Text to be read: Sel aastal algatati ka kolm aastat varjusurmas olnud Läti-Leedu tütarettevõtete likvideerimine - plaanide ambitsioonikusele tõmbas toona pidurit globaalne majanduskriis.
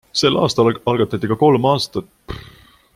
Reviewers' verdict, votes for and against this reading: rejected, 0, 2